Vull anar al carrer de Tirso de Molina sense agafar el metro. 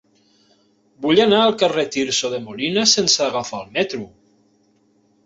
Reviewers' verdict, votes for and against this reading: rejected, 0, 2